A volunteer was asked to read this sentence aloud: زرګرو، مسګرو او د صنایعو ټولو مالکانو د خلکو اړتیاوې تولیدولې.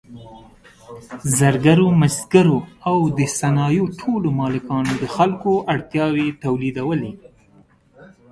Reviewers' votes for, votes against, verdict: 2, 0, accepted